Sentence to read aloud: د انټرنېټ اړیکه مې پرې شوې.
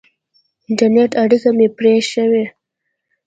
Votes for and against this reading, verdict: 2, 0, accepted